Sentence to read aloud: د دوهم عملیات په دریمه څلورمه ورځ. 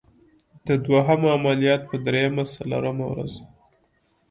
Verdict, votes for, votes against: accepted, 2, 0